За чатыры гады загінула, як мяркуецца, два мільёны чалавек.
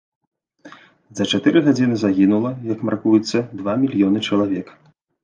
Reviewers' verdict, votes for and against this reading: rejected, 0, 3